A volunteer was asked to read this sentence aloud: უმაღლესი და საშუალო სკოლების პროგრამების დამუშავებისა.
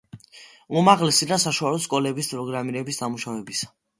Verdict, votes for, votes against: accepted, 2, 0